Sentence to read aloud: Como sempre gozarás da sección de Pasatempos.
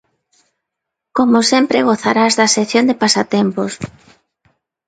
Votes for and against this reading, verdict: 2, 0, accepted